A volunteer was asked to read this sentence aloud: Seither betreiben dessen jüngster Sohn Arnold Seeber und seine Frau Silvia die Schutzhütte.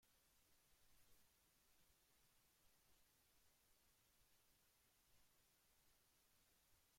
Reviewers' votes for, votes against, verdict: 0, 2, rejected